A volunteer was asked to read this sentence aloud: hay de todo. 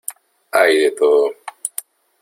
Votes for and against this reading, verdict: 2, 0, accepted